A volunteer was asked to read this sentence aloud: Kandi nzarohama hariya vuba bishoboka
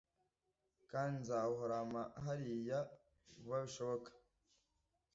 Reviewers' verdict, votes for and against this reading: rejected, 1, 2